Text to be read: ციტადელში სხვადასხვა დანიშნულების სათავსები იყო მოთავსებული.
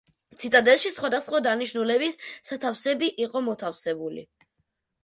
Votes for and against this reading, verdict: 0, 2, rejected